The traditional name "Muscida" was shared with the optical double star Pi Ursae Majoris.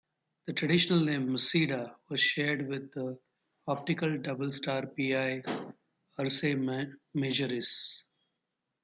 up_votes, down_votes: 1, 2